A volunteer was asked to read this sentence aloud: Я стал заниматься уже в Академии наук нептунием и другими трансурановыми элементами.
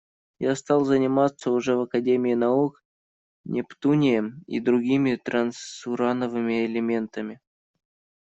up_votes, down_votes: 2, 1